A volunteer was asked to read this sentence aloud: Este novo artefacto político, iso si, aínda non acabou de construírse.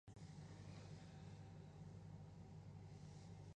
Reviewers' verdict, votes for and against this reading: rejected, 0, 3